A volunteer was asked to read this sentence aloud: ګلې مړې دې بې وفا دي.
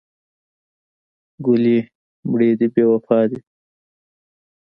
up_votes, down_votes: 2, 1